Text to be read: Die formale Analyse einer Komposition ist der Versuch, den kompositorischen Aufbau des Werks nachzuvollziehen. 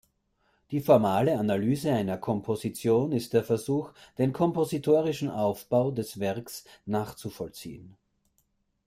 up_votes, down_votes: 2, 0